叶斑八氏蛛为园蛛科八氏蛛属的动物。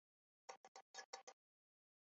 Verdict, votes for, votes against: rejected, 2, 5